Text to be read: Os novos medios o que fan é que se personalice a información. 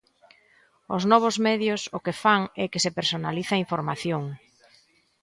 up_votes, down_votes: 2, 0